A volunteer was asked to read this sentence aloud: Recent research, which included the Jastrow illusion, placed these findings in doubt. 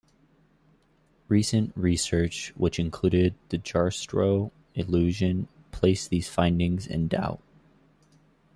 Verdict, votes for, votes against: accepted, 2, 1